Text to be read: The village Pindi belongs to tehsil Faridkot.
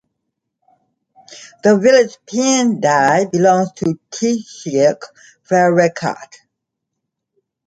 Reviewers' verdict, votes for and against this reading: rejected, 0, 2